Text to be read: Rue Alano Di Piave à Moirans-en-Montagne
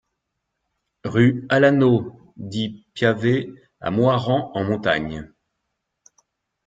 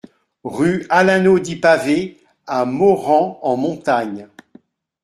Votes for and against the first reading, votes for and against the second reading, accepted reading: 2, 0, 1, 2, first